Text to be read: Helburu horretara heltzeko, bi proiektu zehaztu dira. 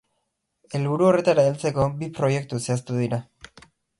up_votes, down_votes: 6, 0